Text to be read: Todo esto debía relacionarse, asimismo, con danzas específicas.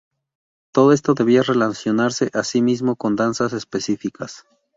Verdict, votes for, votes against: accepted, 4, 0